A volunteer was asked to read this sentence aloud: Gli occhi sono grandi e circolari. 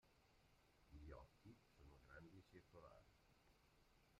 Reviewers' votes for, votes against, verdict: 0, 2, rejected